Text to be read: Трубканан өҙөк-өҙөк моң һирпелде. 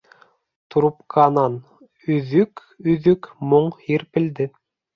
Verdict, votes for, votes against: accepted, 3, 0